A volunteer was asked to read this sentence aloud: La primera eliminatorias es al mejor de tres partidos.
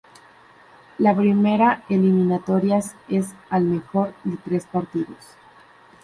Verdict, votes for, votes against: accepted, 2, 0